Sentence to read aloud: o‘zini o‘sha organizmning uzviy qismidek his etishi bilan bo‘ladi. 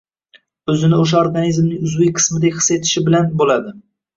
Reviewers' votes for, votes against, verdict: 1, 2, rejected